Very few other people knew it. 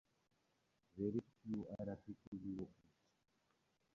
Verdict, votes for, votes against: rejected, 0, 8